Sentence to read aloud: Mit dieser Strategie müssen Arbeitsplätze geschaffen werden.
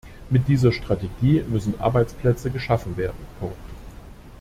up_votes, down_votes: 0, 2